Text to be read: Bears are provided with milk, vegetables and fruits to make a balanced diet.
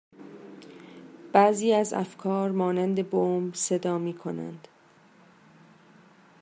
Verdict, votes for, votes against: rejected, 1, 2